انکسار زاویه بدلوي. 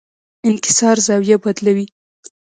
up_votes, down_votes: 2, 1